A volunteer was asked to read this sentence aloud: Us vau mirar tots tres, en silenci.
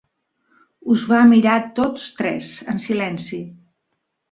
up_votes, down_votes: 0, 2